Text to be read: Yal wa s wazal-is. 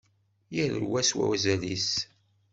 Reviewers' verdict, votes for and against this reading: accepted, 2, 0